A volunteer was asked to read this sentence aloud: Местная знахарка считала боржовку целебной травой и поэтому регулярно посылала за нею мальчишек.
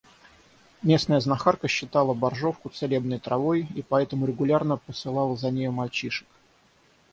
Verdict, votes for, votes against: rejected, 0, 3